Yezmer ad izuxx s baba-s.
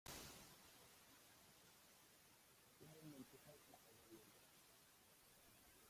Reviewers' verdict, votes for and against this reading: rejected, 0, 3